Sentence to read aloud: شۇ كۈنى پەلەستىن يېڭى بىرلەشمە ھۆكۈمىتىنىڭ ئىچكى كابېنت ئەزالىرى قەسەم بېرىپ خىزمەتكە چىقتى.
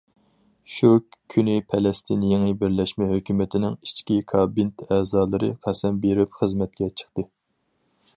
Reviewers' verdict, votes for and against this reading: accepted, 2, 0